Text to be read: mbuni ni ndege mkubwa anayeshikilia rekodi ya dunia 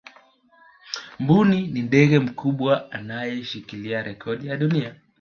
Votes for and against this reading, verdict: 1, 2, rejected